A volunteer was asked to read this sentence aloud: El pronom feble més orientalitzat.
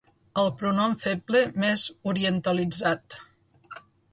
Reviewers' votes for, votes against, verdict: 2, 0, accepted